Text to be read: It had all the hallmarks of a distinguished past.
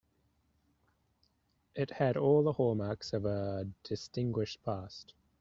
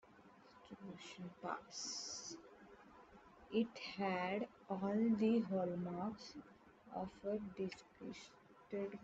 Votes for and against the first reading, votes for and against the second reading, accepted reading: 2, 0, 0, 3, first